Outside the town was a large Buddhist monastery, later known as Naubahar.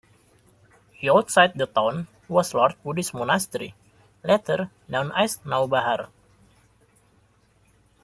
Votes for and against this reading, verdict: 0, 2, rejected